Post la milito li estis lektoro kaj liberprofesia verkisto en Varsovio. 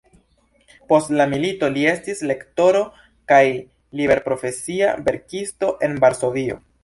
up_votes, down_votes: 2, 0